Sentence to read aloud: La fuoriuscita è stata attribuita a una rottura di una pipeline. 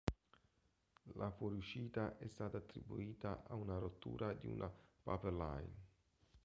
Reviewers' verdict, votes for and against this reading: rejected, 1, 2